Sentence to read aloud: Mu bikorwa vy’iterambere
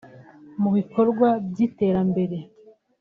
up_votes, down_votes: 2, 0